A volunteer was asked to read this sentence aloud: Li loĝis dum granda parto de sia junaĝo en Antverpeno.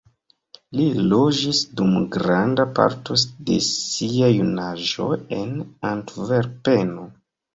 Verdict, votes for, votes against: rejected, 1, 2